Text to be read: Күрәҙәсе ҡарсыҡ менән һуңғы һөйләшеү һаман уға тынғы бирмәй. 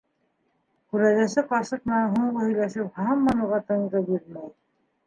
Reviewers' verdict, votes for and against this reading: rejected, 0, 3